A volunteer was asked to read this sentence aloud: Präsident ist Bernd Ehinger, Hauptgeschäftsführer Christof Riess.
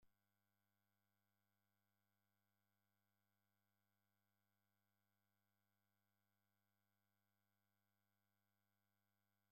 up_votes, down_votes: 0, 2